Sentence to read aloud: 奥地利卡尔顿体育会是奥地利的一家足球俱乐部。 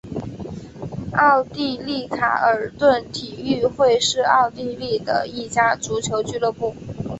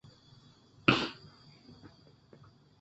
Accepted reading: first